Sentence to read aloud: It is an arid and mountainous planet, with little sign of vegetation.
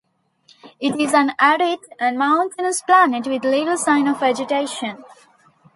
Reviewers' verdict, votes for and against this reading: rejected, 1, 2